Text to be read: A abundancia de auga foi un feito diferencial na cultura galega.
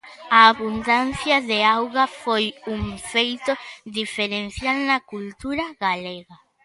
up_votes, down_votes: 2, 0